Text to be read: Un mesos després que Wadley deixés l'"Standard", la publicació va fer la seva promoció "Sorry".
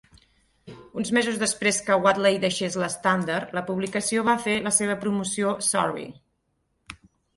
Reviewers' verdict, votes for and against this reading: accepted, 4, 0